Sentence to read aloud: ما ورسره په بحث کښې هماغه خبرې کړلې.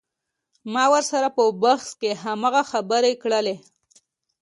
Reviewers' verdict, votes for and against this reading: accepted, 2, 0